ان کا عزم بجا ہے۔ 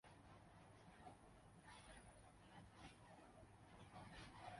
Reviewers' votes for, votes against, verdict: 1, 2, rejected